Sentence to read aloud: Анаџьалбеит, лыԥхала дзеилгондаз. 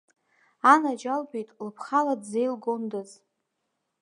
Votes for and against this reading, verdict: 3, 0, accepted